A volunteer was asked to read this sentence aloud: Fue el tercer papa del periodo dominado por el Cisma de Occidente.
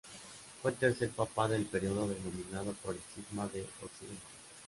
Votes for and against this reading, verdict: 0, 2, rejected